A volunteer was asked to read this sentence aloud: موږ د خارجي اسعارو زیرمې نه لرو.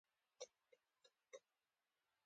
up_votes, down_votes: 2, 0